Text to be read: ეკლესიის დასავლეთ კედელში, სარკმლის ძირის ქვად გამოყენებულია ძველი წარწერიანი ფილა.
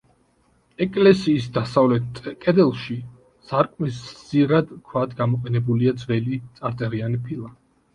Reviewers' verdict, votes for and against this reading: rejected, 1, 2